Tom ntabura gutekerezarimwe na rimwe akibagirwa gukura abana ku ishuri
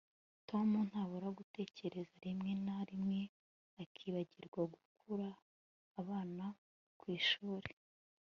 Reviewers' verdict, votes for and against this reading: accepted, 2, 1